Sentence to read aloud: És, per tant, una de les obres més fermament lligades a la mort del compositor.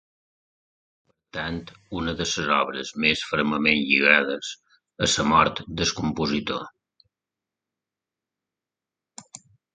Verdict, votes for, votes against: rejected, 0, 3